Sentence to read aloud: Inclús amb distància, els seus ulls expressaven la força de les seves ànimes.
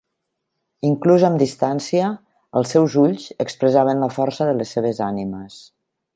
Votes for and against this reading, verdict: 3, 0, accepted